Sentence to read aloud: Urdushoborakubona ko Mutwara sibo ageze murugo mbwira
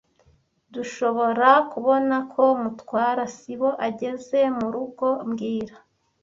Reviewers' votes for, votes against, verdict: 0, 2, rejected